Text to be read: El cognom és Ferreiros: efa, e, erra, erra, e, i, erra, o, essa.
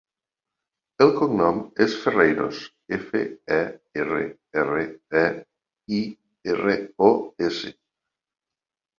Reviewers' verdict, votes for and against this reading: rejected, 1, 2